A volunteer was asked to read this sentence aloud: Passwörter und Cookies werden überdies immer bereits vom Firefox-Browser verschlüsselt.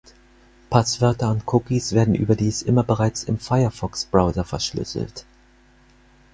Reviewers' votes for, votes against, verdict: 2, 4, rejected